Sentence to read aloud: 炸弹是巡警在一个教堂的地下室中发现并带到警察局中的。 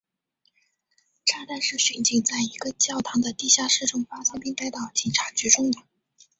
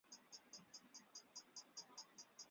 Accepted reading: first